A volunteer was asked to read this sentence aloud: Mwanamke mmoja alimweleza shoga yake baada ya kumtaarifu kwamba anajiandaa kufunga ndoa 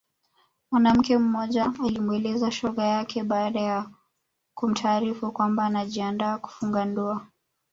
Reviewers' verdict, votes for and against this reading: accepted, 2, 0